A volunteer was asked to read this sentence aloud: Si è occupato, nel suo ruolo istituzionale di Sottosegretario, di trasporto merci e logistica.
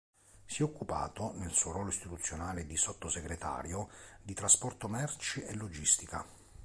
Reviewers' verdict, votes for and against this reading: accepted, 2, 0